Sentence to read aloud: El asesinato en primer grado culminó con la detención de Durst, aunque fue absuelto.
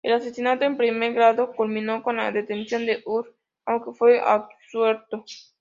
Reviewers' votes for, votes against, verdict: 2, 0, accepted